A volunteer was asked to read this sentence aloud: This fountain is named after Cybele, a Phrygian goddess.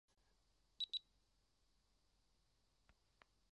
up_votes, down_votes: 0, 2